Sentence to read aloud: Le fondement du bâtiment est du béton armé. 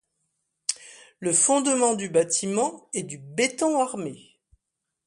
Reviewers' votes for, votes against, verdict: 2, 0, accepted